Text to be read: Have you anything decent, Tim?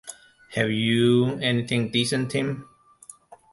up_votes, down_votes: 2, 0